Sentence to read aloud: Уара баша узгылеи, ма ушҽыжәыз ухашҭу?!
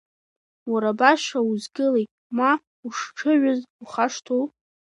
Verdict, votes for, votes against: accepted, 2, 0